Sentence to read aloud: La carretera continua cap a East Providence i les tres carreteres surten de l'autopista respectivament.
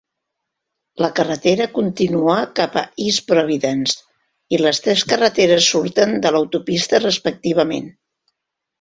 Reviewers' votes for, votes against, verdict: 2, 0, accepted